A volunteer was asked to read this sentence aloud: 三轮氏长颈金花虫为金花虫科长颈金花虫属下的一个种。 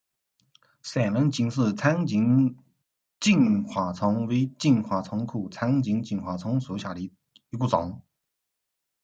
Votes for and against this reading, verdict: 2, 1, accepted